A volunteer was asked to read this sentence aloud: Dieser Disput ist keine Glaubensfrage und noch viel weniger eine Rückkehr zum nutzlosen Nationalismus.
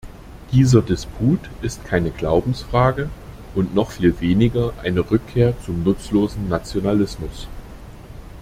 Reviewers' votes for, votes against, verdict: 2, 0, accepted